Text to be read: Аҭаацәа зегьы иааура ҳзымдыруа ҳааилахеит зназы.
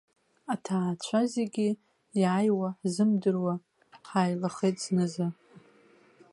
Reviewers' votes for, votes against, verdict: 1, 2, rejected